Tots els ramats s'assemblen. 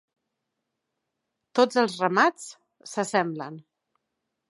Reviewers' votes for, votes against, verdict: 3, 0, accepted